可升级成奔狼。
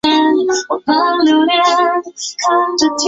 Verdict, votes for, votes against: rejected, 0, 2